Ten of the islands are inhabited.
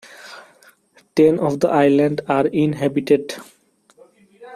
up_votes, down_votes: 0, 2